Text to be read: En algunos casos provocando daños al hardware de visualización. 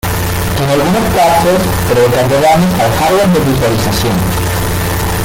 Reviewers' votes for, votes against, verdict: 0, 2, rejected